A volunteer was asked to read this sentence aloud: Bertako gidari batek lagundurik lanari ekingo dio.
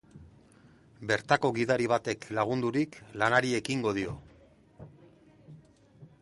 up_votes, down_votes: 3, 0